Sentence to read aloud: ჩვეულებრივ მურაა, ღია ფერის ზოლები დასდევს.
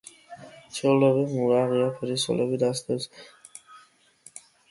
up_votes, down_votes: 2, 0